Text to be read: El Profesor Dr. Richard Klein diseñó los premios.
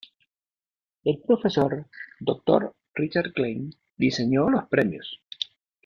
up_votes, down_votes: 2, 1